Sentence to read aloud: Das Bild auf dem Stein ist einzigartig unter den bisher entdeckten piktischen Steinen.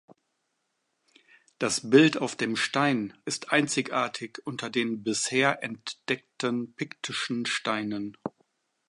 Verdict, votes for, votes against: accepted, 2, 0